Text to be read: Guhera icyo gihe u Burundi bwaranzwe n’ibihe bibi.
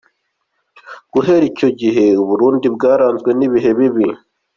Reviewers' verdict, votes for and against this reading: accepted, 2, 0